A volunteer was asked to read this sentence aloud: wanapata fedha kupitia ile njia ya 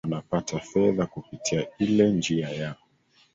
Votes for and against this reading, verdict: 2, 0, accepted